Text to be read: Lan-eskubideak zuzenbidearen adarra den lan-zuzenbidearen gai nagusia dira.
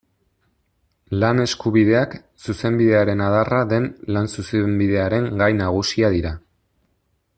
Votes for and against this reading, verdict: 2, 1, accepted